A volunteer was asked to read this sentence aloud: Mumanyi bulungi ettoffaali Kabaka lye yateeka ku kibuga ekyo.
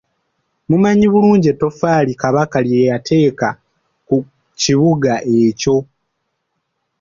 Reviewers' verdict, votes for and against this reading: rejected, 0, 2